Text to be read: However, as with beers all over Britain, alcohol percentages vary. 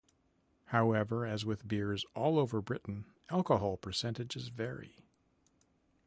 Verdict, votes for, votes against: accepted, 2, 0